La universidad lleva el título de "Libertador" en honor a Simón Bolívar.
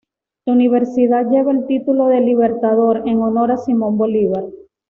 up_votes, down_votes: 2, 0